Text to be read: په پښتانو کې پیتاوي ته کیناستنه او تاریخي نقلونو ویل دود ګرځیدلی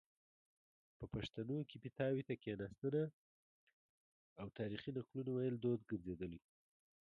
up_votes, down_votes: 2, 0